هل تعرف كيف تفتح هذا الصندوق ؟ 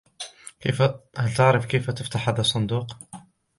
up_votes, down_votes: 0, 2